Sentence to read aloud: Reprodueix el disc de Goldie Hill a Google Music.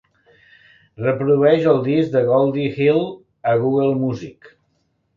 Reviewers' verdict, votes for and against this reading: accepted, 2, 0